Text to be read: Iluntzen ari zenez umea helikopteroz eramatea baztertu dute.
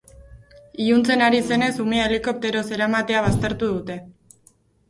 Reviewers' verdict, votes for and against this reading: accepted, 4, 0